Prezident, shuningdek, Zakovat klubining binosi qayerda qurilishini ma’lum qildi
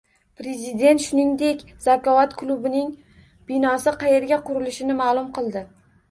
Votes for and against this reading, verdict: 1, 2, rejected